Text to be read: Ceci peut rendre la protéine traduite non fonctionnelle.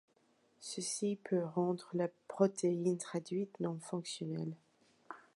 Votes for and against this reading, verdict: 2, 0, accepted